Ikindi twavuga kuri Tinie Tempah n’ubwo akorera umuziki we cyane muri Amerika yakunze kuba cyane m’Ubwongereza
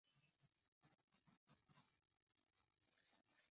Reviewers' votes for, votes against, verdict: 0, 2, rejected